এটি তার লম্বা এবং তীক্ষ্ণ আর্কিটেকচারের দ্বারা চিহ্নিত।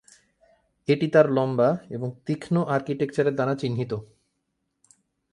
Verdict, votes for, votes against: rejected, 2, 4